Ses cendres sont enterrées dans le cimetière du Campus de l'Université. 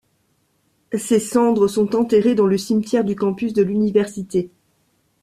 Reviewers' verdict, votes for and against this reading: accepted, 2, 0